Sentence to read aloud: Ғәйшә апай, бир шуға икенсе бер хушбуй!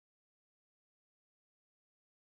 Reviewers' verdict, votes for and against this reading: rejected, 0, 2